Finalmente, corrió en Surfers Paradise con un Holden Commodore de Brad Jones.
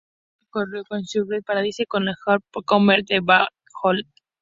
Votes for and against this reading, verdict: 2, 0, accepted